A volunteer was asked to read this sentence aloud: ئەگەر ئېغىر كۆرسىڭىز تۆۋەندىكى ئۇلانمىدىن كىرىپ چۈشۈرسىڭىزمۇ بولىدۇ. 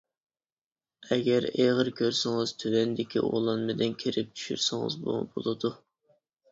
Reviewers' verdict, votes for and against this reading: accepted, 2, 0